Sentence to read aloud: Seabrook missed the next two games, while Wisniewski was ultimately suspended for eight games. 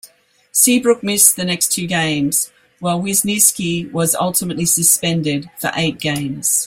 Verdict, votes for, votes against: accepted, 2, 0